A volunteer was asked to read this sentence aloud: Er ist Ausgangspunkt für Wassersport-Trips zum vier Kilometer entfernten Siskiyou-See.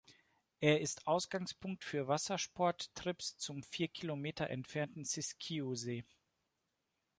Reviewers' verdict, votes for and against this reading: accepted, 2, 0